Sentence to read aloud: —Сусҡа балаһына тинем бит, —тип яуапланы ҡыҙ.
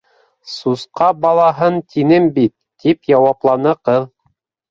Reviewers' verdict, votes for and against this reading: rejected, 3, 4